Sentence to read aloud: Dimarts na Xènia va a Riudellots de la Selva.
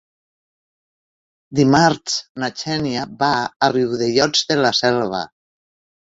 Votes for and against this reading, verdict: 0, 2, rejected